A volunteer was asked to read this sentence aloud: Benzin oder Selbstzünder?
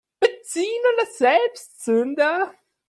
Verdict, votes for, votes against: rejected, 1, 3